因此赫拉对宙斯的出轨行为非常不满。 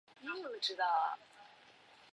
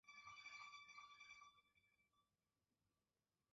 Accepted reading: first